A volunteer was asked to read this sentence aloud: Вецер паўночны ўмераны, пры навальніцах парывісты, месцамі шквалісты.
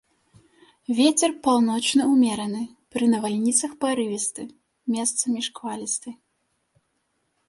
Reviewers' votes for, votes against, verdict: 2, 0, accepted